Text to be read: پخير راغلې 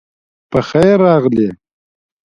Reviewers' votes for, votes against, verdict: 2, 0, accepted